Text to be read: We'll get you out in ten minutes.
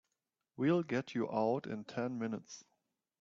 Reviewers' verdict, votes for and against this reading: accepted, 3, 0